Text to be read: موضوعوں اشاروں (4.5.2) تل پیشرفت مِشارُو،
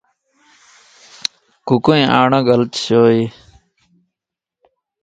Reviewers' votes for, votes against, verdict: 0, 2, rejected